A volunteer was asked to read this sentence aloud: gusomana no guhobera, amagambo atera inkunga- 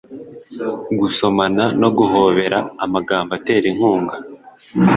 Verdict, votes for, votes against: accepted, 3, 0